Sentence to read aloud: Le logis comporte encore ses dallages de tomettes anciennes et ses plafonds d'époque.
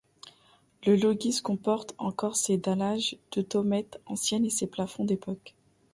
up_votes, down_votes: 0, 2